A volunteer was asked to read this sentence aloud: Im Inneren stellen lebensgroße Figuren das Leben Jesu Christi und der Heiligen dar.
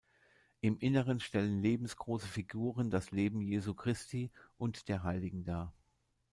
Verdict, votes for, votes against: accepted, 2, 0